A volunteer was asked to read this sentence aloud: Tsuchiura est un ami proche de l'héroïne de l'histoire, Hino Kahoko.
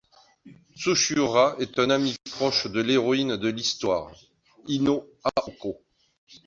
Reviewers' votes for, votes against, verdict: 1, 2, rejected